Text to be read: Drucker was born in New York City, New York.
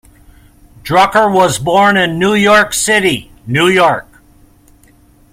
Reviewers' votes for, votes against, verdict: 2, 0, accepted